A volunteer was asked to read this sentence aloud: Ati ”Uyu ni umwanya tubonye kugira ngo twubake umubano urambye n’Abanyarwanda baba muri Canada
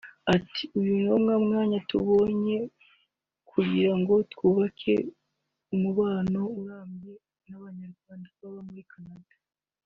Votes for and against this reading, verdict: 0, 2, rejected